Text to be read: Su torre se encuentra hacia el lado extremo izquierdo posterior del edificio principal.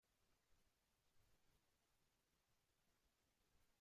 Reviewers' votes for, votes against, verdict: 0, 2, rejected